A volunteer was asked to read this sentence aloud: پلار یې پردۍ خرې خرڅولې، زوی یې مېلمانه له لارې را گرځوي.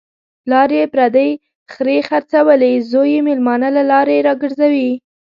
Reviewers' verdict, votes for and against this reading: accepted, 2, 1